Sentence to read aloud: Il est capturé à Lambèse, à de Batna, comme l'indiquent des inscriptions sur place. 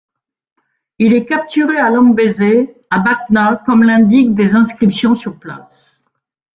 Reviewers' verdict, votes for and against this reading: rejected, 1, 2